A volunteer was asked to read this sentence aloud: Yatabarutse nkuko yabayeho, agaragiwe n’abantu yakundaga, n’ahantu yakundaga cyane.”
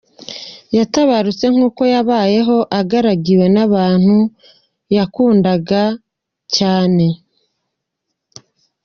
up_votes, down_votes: 1, 2